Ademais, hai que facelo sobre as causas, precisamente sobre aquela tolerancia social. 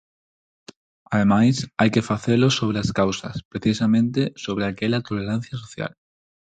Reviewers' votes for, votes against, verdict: 4, 0, accepted